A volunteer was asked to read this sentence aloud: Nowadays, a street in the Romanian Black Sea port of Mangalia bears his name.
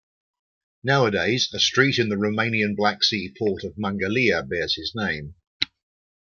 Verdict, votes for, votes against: accepted, 2, 0